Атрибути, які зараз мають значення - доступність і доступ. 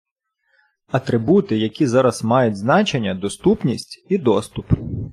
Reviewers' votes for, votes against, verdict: 2, 0, accepted